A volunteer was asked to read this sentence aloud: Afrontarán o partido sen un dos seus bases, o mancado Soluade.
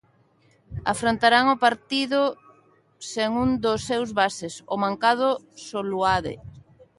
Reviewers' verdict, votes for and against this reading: accepted, 2, 0